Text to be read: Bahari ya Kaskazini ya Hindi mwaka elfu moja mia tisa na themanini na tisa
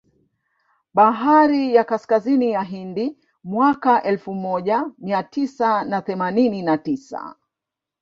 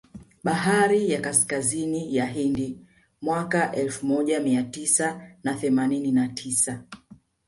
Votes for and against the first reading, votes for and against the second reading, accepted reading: 1, 2, 2, 1, second